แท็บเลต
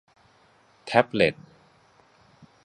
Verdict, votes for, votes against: accepted, 2, 0